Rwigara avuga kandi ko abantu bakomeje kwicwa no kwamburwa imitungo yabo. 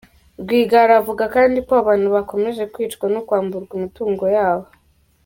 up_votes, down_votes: 0, 2